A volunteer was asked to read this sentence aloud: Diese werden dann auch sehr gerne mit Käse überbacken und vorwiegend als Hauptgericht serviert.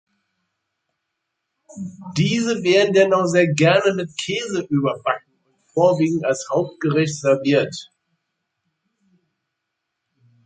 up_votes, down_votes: 1, 2